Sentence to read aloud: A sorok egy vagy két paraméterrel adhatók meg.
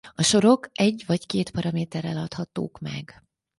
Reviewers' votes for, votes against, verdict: 4, 0, accepted